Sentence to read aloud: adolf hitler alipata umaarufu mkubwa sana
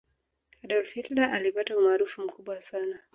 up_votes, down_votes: 1, 2